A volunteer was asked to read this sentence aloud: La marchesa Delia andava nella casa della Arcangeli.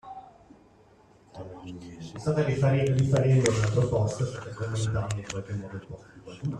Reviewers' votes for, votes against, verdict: 0, 2, rejected